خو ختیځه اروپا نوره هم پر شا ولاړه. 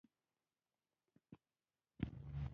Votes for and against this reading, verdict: 0, 2, rejected